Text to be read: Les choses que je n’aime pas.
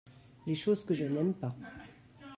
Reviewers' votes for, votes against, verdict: 1, 2, rejected